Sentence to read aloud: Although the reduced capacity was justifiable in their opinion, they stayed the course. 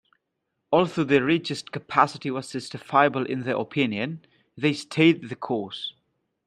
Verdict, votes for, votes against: accepted, 2, 0